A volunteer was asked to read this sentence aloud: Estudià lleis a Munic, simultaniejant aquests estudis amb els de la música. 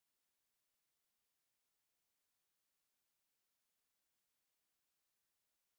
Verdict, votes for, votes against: rejected, 0, 2